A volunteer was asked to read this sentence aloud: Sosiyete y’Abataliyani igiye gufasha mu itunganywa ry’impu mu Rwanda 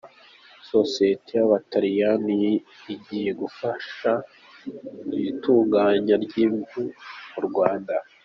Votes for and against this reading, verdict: 2, 1, accepted